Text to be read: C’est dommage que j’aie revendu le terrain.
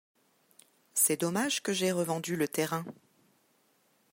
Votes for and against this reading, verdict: 2, 0, accepted